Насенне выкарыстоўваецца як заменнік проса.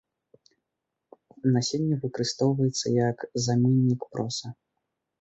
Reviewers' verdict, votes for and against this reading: accepted, 2, 1